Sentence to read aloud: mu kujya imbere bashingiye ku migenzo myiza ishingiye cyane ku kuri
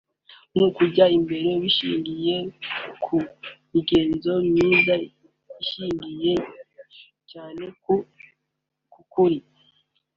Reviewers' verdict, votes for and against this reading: rejected, 0, 2